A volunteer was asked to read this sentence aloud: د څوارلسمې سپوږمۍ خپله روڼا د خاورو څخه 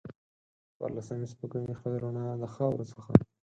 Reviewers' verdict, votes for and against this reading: rejected, 2, 4